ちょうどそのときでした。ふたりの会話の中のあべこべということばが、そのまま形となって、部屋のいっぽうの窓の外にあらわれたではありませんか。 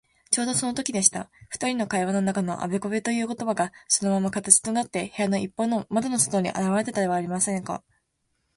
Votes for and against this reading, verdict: 4, 4, rejected